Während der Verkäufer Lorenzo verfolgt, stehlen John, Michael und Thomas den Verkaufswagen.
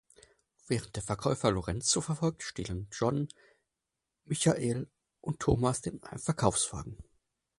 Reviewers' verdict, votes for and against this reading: rejected, 2, 6